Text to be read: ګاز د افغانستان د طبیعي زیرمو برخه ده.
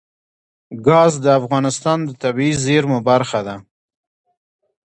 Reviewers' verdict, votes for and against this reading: accepted, 2, 1